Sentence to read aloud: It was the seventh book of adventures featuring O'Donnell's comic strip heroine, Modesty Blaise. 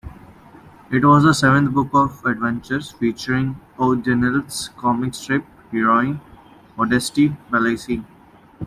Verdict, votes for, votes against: rejected, 1, 2